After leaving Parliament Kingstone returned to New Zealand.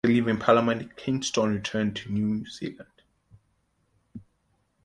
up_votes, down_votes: 1, 2